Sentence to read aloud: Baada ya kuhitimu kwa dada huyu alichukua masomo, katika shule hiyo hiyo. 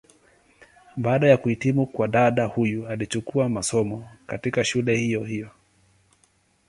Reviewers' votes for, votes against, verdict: 2, 0, accepted